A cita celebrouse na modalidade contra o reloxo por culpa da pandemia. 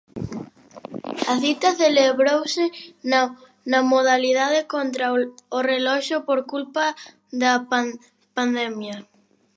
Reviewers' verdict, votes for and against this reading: rejected, 1, 2